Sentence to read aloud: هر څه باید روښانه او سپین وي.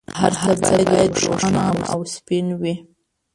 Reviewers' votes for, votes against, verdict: 0, 2, rejected